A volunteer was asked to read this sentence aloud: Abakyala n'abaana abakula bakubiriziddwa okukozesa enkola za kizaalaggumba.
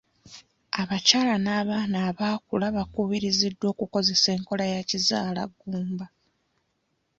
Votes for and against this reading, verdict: 0, 2, rejected